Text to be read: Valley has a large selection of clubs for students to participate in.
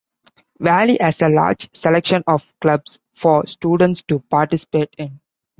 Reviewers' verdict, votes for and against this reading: accepted, 3, 0